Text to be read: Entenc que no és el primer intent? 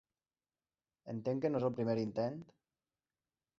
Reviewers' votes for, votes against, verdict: 2, 1, accepted